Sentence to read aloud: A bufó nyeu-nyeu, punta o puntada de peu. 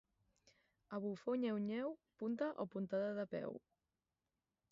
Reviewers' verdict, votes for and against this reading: rejected, 2, 2